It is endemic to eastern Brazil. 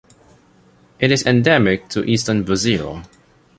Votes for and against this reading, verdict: 3, 1, accepted